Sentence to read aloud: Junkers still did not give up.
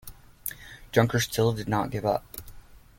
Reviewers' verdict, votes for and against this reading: accepted, 2, 0